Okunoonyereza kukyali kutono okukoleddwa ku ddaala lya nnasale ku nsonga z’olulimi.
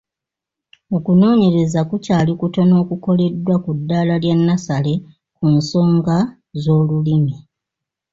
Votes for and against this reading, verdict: 2, 0, accepted